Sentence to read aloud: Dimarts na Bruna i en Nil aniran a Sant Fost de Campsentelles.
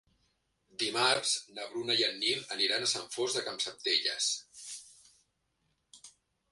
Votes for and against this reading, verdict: 2, 1, accepted